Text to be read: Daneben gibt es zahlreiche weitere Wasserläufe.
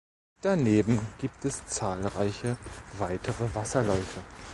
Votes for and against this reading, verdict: 3, 0, accepted